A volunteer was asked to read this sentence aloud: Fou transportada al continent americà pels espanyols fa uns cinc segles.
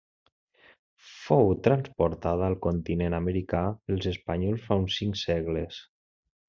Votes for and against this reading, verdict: 2, 0, accepted